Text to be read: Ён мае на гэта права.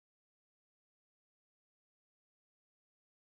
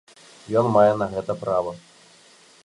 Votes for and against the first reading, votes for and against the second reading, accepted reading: 0, 2, 2, 0, second